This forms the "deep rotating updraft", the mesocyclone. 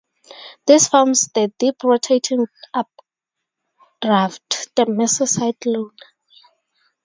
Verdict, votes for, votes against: rejected, 0, 2